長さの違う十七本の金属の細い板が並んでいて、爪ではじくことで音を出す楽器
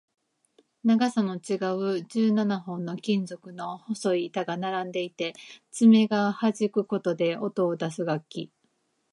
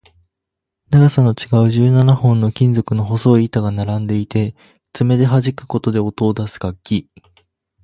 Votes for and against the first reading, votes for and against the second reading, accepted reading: 2, 1, 2, 2, first